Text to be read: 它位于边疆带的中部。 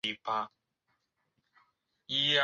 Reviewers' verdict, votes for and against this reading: rejected, 0, 3